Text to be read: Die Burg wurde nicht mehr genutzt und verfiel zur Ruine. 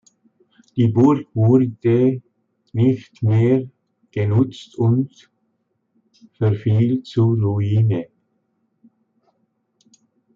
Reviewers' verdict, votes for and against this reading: accepted, 2, 1